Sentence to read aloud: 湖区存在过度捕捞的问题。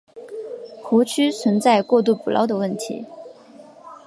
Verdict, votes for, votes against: accepted, 2, 0